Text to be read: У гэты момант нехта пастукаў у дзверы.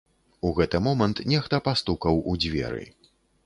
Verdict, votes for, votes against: accepted, 2, 0